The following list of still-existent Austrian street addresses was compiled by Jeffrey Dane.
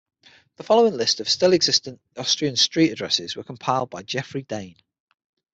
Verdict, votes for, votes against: rejected, 3, 6